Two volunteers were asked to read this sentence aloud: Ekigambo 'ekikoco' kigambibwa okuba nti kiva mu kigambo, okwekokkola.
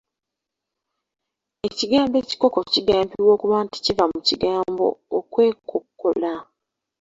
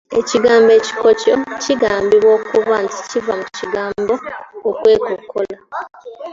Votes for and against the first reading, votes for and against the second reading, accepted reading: 0, 2, 2, 1, second